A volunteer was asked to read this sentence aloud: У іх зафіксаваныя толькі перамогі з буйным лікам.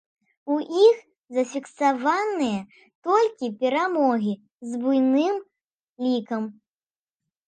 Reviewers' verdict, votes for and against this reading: accepted, 2, 0